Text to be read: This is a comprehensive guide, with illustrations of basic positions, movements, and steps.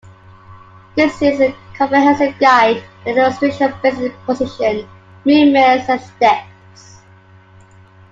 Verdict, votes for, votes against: accepted, 2, 1